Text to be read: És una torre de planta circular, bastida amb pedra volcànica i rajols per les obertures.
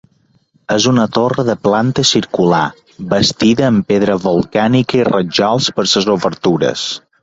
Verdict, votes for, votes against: rejected, 1, 2